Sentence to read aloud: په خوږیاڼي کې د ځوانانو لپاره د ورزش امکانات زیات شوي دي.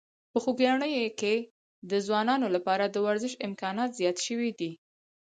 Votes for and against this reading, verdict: 4, 0, accepted